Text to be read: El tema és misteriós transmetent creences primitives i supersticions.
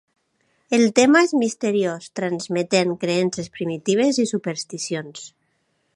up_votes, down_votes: 2, 0